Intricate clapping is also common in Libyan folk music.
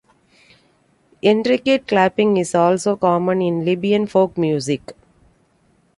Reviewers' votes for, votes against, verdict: 2, 0, accepted